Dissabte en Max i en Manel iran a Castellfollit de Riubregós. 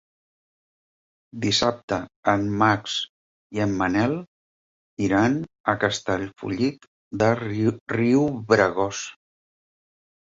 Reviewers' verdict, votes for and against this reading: rejected, 1, 3